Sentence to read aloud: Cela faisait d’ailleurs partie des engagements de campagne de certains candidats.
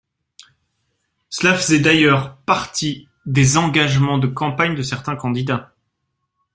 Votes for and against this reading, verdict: 2, 0, accepted